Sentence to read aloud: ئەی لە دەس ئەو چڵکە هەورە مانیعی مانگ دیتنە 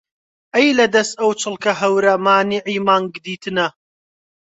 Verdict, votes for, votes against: accepted, 2, 0